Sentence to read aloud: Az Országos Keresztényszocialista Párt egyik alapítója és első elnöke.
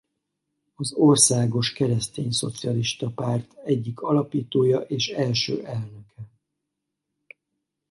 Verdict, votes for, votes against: accepted, 4, 0